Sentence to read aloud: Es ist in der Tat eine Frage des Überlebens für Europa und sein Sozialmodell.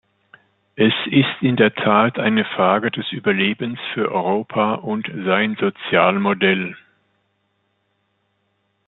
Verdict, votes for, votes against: accepted, 2, 0